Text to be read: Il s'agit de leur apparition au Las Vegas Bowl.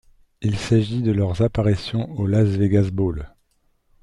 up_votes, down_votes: 1, 2